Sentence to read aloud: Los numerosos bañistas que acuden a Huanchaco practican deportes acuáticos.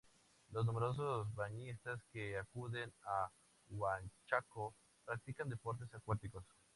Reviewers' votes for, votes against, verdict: 0, 2, rejected